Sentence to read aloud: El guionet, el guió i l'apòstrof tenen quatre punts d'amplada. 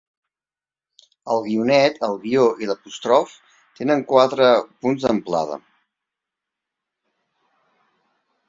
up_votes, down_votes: 0, 2